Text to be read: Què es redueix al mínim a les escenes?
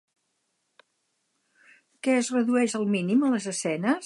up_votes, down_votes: 6, 2